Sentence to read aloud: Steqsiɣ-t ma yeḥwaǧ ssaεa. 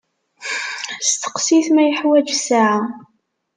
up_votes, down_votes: 1, 2